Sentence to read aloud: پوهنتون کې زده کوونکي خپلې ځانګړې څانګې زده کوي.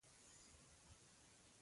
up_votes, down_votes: 0, 2